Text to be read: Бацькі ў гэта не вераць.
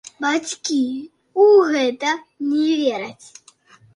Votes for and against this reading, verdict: 2, 4, rejected